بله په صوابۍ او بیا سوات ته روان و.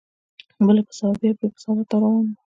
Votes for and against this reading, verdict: 1, 2, rejected